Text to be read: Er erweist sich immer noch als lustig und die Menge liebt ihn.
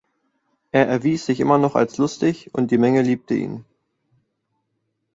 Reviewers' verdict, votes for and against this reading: rejected, 0, 2